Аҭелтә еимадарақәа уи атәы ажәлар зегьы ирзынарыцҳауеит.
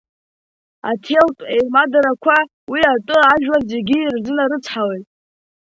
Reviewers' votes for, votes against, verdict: 2, 0, accepted